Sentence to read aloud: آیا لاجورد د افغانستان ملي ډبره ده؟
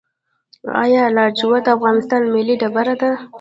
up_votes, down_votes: 2, 0